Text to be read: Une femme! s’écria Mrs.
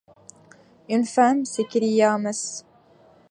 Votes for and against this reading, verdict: 2, 0, accepted